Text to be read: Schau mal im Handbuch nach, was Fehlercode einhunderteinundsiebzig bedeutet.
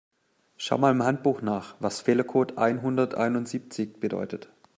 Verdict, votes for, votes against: accepted, 2, 0